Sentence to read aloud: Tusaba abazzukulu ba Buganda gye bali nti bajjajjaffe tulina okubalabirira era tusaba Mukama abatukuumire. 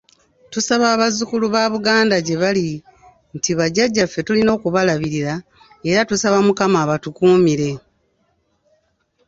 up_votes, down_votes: 2, 0